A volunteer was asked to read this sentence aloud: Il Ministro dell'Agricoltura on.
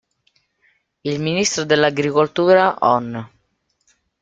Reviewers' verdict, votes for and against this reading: accepted, 3, 0